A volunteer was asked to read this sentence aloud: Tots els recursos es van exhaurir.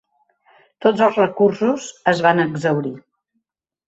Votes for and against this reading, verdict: 2, 0, accepted